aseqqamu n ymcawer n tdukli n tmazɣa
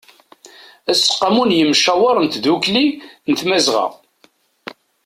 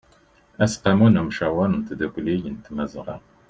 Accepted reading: second